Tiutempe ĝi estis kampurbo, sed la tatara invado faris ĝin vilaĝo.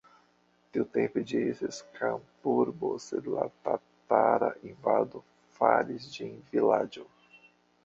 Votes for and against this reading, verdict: 1, 2, rejected